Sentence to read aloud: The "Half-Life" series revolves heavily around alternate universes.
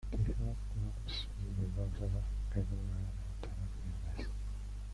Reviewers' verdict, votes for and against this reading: rejected, 0, 2